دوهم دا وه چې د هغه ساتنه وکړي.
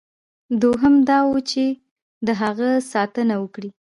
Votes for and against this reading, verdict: 3, 0, accepted